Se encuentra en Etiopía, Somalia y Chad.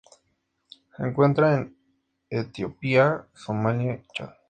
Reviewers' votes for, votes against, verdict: 2, 0, accepted